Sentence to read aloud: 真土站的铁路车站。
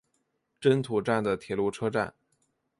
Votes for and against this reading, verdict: 4, 0, accepted